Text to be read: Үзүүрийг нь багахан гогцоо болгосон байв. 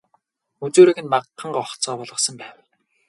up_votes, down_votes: 2, 2